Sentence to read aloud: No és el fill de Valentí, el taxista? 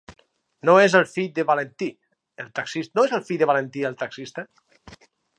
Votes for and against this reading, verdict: 2, 4, rejected